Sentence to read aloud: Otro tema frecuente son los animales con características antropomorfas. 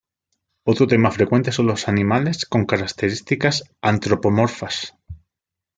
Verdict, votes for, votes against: rejected, 1, 2